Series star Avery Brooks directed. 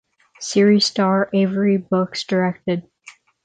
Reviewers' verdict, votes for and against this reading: rejected, 0, 6